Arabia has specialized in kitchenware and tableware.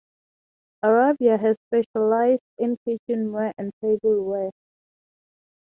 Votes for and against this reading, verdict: 3, 6, rejected